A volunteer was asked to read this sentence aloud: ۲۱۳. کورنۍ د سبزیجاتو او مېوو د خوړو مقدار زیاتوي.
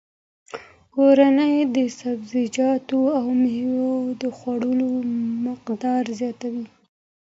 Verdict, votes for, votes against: rejected, 0, 2